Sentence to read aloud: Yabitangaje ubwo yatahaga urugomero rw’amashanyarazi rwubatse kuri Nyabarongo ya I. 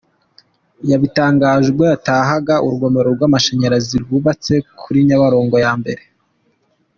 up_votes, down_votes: 2, 0